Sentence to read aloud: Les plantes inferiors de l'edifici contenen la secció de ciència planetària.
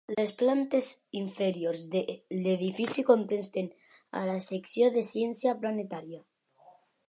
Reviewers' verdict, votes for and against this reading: rejected, 0, 2